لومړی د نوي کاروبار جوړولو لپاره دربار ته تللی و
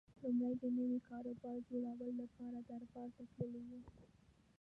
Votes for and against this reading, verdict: 0, 2, rejected